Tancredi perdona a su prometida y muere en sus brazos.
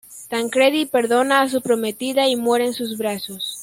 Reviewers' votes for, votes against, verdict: 2, 0, accepted